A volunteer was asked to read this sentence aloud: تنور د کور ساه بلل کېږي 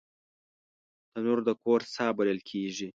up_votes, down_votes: 2, 0